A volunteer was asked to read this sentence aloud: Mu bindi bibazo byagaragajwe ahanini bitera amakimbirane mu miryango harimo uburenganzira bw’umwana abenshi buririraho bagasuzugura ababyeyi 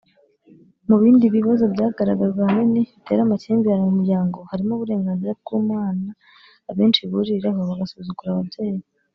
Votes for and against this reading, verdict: 1, 2, rejected